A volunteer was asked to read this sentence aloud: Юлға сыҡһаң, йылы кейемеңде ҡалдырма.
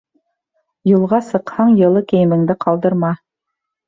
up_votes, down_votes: 2, 0